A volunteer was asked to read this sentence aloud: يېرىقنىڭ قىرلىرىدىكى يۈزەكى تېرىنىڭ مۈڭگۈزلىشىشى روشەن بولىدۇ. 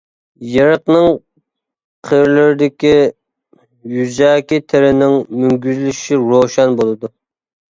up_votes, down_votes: 2, 1